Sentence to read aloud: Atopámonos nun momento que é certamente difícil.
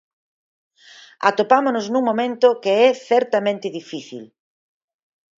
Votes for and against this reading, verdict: 6, 0, accepted